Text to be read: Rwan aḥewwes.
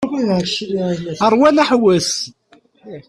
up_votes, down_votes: 0, 2